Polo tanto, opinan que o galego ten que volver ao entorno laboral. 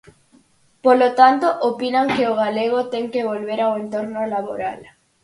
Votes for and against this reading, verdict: 4, 0, accepted